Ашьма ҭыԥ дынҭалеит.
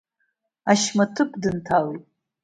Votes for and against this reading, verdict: 2, 0, accepted